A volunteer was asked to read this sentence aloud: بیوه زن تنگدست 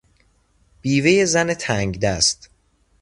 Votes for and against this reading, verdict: 0, 2, rejected